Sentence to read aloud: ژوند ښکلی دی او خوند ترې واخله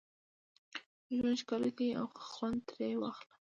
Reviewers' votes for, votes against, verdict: 2, 0, accepted